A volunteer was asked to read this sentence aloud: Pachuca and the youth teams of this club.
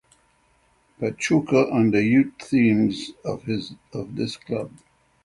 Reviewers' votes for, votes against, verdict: 0, 6, rejected